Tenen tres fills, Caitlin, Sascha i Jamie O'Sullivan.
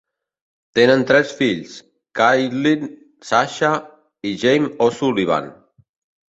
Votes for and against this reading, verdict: 2, 1, accepted